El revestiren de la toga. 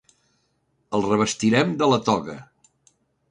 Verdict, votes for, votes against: rejected, 0, 2